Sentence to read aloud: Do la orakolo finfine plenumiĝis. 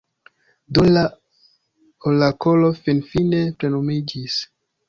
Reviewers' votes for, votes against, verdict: 1, 2, rejected